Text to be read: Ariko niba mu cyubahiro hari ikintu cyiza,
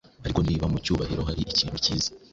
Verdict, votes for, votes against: rejected, 0, 2